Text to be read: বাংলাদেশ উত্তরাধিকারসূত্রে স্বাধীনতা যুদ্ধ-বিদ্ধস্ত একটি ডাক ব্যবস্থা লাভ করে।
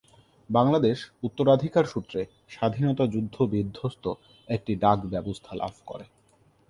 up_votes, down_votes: 6, 0